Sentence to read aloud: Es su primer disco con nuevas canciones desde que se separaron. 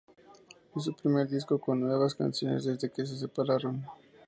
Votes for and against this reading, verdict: 0, 2, rejected